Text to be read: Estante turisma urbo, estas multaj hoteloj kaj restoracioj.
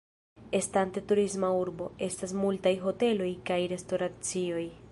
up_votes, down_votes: 1, 2